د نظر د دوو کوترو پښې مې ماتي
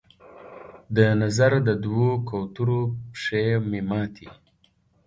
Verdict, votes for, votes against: accepted, 2, 0